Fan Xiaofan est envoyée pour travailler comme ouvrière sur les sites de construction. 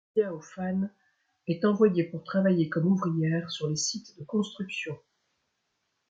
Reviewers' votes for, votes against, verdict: 0, 2, rejected